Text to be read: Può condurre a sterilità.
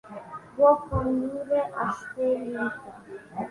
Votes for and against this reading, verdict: 2, 0, accepted